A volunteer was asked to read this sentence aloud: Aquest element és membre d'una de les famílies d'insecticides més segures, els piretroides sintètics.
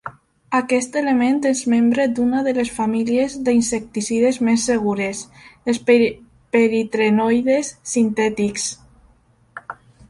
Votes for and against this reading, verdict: 0, 2, rejected